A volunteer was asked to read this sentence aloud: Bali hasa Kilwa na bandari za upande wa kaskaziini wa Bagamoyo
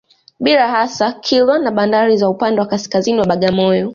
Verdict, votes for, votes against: accepted, 2, 0